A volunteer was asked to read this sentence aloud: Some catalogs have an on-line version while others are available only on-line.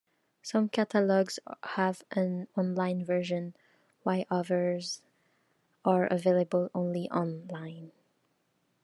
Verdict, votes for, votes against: rejected, 0, 2